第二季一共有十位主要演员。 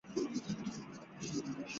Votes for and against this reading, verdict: 0, 2, rejected